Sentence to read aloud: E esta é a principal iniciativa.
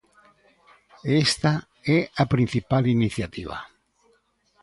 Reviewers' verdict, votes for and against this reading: accepted, 2, 0